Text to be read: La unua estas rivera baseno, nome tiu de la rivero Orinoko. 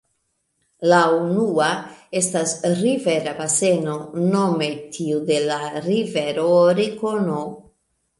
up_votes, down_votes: 0, 2